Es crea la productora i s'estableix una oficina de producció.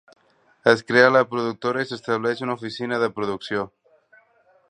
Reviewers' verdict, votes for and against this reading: accepted, 3, 0